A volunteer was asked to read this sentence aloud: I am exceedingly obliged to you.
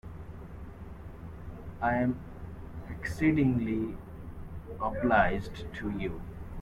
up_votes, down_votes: 0, 2